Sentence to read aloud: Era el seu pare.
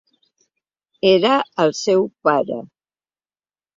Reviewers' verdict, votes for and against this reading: accepted, 3, 0